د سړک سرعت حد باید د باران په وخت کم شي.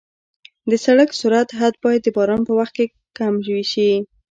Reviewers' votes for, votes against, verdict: 2, 1, accepted